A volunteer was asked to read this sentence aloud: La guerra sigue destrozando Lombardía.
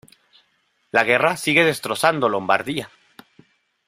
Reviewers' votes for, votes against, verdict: 2, 0, accepted